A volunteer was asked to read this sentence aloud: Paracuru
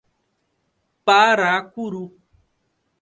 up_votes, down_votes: 2, 0